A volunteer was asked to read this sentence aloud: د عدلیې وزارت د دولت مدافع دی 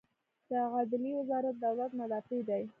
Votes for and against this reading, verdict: 1, 2, rejected